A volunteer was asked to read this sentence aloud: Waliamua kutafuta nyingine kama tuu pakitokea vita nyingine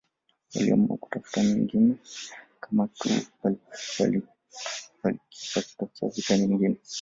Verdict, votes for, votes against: rejected, 1, 2